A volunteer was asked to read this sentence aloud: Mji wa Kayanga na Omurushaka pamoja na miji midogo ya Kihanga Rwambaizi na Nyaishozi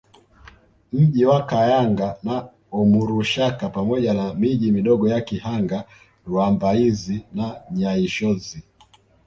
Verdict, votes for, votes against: accepted, 2, 1